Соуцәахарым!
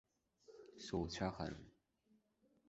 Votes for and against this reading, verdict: 2, 1, accepted